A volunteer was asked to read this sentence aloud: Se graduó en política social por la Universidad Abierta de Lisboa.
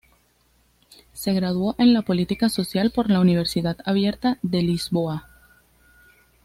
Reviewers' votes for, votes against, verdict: 1, 2, rejected